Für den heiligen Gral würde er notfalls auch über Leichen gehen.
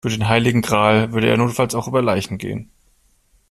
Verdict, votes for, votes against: accepted, 2, 0